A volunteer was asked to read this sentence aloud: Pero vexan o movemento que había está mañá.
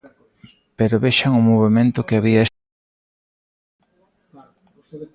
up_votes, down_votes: 0, 2